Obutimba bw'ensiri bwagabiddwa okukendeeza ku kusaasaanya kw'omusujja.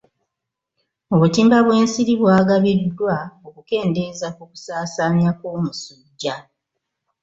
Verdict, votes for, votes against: accepted, 2, 0